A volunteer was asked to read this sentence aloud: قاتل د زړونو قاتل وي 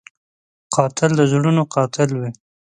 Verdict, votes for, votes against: accepted, 2, 0